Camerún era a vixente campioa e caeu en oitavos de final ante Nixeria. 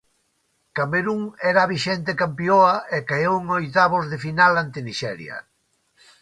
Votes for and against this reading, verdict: 2, 0, accepted